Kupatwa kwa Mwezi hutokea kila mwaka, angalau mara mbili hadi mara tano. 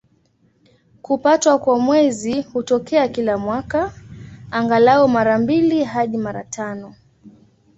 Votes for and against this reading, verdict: 2, 0, accepted